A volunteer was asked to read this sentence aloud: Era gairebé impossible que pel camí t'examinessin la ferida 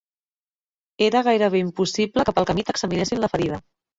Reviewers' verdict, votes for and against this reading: accepted, 2, 1